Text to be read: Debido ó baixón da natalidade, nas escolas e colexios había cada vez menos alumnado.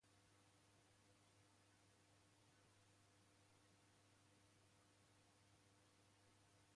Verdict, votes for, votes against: rejected, 0, 2